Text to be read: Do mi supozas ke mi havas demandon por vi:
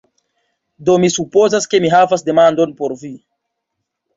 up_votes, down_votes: 0, 2